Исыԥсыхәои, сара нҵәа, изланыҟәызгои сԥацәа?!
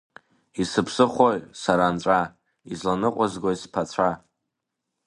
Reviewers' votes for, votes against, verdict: 2, 1, accepted